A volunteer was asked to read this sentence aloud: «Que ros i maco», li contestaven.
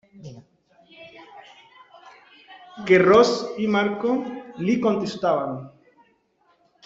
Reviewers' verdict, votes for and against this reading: rejected, 1, 2